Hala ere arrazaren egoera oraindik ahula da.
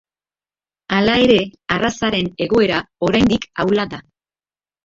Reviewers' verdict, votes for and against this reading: accepted, 2, 1